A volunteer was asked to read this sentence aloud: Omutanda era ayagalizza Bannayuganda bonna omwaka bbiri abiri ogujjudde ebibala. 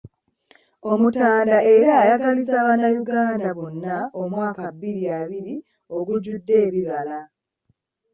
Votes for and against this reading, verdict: 3, 0, accepted